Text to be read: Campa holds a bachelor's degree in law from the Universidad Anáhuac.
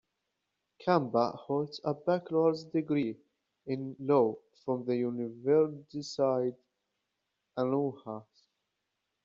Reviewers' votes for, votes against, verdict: 0, 2, rejected